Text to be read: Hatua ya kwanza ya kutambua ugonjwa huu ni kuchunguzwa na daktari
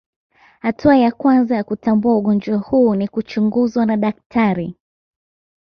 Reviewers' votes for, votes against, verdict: 2, 0, accepted